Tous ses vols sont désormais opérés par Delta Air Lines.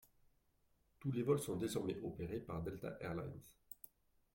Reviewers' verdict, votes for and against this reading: accepted, 2, 1